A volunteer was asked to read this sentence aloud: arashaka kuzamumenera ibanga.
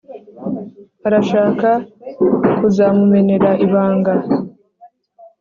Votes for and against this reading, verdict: 2, 0, accepted